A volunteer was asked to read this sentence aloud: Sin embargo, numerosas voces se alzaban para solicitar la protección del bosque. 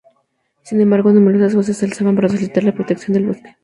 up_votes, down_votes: 2, 0